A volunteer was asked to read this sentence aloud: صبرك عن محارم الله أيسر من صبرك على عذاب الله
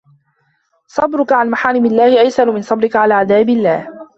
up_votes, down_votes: 1, 2